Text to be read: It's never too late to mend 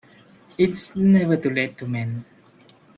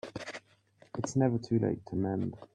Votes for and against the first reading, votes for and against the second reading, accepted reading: 1, 2, 2, 0, second